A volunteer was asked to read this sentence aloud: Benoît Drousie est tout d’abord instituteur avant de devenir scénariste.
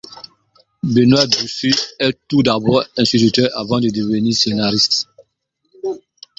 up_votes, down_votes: 0, 2